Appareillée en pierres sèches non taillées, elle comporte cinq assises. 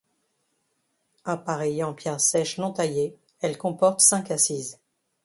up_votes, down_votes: 2, 0